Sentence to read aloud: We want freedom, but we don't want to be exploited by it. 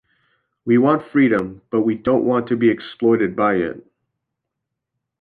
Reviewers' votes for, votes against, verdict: 2, 0, accepted